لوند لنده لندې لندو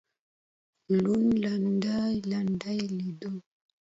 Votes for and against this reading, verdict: 2, 0, accepted